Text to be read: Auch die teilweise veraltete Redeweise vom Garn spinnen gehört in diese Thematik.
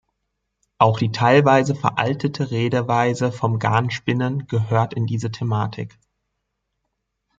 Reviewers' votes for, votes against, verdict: 2, 0, accepted